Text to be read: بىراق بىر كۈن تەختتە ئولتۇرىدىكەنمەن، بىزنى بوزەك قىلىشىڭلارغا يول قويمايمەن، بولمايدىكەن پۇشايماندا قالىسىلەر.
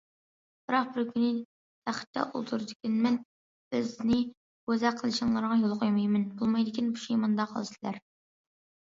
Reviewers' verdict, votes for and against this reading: accepted, 2, 0